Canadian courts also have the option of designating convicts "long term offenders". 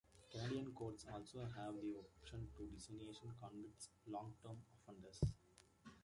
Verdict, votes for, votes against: rejected, 0, 2